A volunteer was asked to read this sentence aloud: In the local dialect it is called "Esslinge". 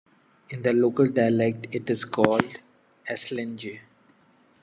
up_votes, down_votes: 2, 0